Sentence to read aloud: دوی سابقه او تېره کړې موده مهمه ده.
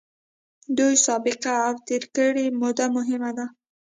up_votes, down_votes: 2, 0